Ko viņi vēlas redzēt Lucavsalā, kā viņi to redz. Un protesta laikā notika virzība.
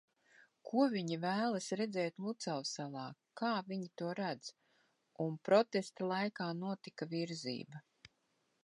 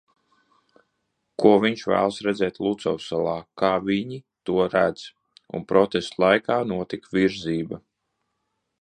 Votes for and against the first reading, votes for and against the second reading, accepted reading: 2, 0, 0, 2, first